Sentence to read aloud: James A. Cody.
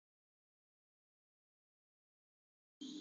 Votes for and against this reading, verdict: 0, 2, rejected